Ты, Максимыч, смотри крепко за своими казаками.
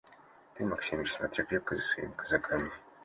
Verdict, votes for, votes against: accepted, 2, 0